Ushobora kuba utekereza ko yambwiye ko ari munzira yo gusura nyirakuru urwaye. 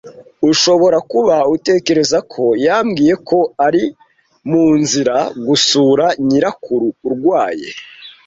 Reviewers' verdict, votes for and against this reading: rejected, 1, 2